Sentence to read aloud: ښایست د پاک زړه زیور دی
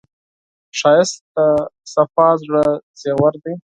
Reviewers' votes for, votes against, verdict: 2, 12, rejected